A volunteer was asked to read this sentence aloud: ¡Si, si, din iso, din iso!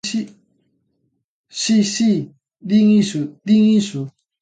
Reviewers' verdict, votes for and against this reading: rejected, 0, 2